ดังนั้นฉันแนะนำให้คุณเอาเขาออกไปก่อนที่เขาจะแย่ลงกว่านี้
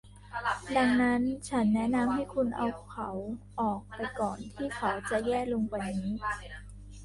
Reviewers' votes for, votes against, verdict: 1, 2, rejected